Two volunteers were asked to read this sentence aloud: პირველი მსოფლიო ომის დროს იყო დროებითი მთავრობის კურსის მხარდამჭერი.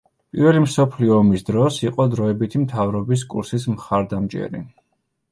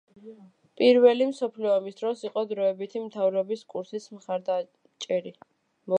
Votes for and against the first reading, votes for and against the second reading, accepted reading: 2, 0, 2, 3, first